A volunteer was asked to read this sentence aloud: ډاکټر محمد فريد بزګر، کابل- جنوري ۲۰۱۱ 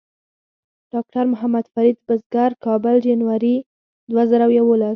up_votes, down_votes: 0, 2